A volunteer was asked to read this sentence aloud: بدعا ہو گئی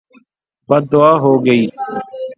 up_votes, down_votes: 3, 0